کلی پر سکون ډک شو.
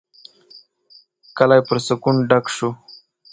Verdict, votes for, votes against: accepted, 7, 1